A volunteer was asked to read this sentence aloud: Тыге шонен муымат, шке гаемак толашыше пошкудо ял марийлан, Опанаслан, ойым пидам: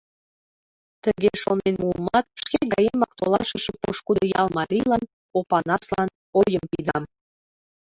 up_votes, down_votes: 0, 2